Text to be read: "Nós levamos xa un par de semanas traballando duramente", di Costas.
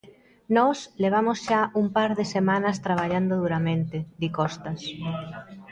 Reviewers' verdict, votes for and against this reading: rejected, 0, 2